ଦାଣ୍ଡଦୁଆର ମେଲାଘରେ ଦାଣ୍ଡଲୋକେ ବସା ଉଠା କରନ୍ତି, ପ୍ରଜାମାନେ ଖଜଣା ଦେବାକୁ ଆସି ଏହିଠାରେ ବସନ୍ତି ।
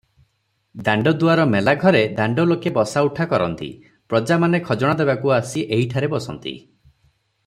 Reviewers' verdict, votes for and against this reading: accepted, 3, 0